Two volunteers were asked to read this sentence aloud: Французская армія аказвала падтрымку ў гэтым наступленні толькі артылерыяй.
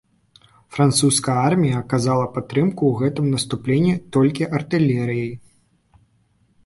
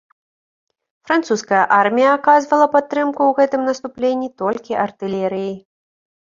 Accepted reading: second